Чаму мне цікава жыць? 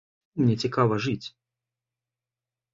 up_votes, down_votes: 0, 2